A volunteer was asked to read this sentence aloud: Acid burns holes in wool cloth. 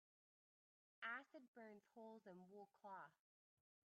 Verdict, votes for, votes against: rejected, 0, 2